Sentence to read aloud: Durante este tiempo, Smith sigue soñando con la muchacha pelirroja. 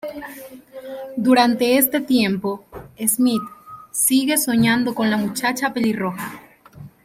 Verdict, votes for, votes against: accepted, 2, 0